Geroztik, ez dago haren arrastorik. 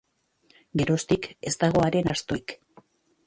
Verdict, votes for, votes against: rejected, 0, 5